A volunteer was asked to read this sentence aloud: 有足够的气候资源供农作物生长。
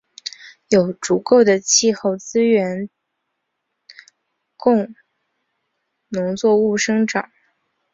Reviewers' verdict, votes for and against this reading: rejected, 0, 2